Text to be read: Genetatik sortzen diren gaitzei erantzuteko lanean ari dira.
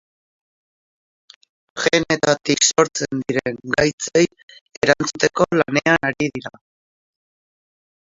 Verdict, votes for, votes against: rejected, 0, 4